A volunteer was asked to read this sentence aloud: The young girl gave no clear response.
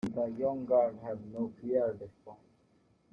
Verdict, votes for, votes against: rejected, 1, 2